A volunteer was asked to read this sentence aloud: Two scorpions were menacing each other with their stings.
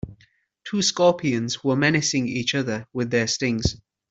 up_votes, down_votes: 2, 1